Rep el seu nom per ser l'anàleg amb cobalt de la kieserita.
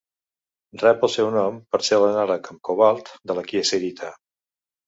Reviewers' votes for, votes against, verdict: 2, 0, accepted